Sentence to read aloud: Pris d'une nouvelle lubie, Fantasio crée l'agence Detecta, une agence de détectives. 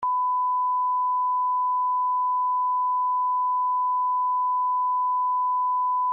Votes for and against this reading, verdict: 0, 3, rejected